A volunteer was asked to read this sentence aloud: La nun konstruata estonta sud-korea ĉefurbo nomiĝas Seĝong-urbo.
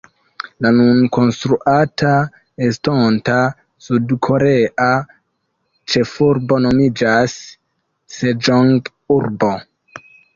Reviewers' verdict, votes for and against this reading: accepted, 2, 1